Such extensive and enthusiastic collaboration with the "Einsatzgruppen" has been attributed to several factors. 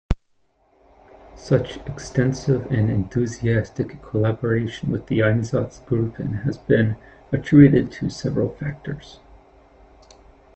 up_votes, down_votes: 1, 2